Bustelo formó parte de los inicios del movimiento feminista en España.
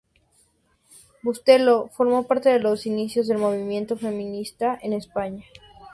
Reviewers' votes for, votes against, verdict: 2, 0, accepted